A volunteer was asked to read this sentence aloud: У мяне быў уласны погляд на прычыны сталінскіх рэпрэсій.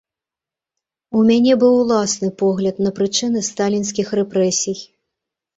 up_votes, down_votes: 2, 0